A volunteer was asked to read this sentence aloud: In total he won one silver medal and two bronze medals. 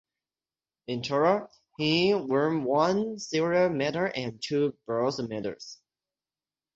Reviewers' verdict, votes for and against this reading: rejected, 0, 6